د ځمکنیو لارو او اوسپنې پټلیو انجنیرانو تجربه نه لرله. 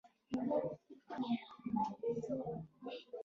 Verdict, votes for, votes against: rejected, 0, 2